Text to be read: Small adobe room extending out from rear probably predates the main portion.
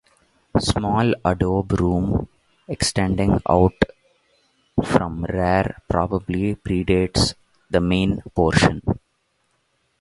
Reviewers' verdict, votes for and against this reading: rejected, 0, 2